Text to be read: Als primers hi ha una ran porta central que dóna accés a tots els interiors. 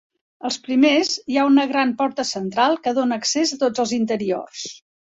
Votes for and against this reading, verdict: 3, 0, accepted